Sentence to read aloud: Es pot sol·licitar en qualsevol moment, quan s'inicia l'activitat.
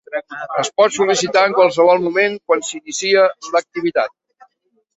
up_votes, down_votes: 1, 2